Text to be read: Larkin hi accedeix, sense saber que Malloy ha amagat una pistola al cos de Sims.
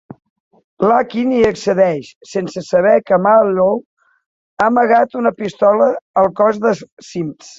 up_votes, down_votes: 0, 2